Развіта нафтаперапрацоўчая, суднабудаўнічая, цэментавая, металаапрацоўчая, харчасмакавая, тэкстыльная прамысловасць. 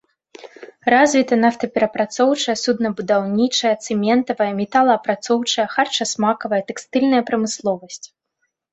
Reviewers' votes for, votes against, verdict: 2, 0, accepted